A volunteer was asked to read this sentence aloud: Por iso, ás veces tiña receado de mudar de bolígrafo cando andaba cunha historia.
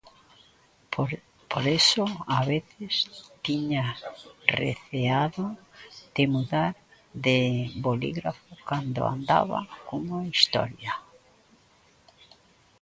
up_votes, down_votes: 0, 2